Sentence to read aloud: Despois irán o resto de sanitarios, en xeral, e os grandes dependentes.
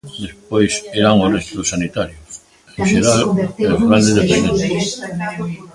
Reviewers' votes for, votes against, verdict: 0, 2, rejected